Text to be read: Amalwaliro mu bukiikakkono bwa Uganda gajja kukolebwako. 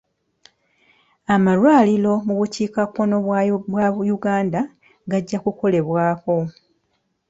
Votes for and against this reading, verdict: 0, 2, rejected